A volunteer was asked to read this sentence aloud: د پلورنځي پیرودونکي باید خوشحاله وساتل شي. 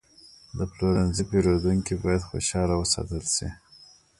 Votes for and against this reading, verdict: 1, 2, rejected